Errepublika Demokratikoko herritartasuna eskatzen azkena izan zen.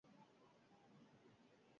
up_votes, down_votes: 0, 6